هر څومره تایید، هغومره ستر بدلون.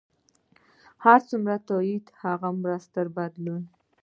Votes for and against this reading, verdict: 1, 2, rejected